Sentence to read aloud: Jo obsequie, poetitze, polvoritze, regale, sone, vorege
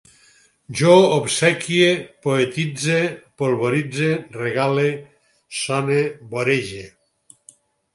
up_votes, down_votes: 0, 4